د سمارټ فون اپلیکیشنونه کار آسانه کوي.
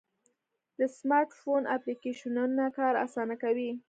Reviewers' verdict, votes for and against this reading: accepted, 2, 1